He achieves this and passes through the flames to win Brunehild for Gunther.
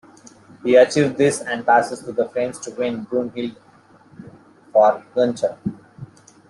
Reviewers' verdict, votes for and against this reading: rejected, 0, 2